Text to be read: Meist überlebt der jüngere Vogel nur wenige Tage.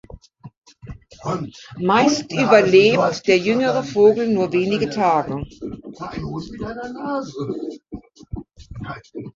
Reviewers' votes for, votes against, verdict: 1, 2, rejected